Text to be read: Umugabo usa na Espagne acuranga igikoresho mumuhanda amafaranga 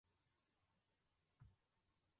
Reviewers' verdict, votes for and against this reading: rejected, 0, 2